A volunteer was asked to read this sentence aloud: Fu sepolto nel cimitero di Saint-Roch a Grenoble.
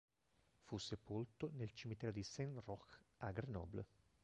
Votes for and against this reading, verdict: 1, 2, rejected